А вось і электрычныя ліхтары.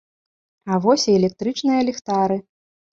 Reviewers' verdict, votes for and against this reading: rejected, 0, 2